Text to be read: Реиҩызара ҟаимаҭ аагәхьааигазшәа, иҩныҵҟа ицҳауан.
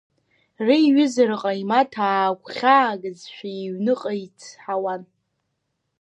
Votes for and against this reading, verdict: 1, 2, rejected